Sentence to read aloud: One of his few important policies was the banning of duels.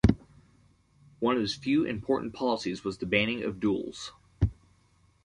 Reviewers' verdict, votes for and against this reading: accepted, 2, 1